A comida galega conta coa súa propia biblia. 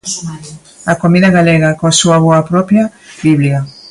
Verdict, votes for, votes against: rejected, 0, 2